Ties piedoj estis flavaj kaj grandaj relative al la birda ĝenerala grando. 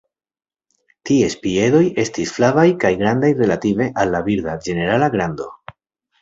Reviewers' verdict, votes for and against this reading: accepted, 2, 0